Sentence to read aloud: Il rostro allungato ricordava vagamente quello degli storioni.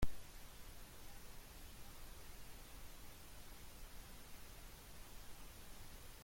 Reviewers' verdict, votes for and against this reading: rejected, 1, 2